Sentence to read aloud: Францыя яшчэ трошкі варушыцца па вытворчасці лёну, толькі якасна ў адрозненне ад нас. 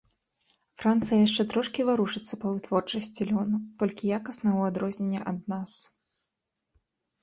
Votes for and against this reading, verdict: 0, 2, rejected